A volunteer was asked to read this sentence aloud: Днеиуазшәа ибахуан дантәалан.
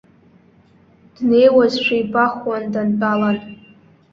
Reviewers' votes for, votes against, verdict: 0, 2, rejected